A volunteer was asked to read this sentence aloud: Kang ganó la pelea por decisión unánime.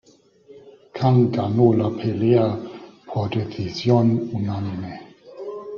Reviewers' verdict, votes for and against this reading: accepted, 2, 1